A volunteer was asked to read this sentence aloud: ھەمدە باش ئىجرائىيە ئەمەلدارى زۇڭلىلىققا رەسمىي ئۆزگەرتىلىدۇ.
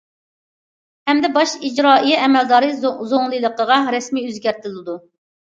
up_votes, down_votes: 0, 2